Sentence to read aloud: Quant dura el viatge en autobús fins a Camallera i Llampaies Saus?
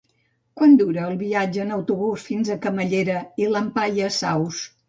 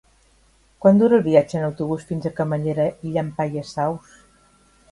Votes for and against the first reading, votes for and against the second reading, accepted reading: 1, 2, 3, 0, second